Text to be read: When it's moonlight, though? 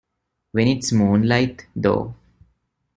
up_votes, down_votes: 2, 0